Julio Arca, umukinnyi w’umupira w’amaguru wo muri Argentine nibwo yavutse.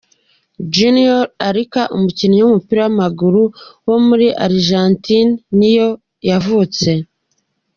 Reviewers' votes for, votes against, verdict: 0, 2, rejected